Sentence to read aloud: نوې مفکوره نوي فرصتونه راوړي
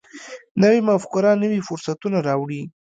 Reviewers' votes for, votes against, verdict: 1, 2, rejected